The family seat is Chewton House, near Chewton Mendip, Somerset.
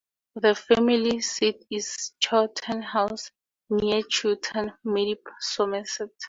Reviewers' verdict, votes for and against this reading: accepted, 2, 0